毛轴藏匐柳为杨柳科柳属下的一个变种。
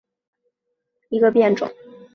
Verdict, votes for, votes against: rejected, 0, 2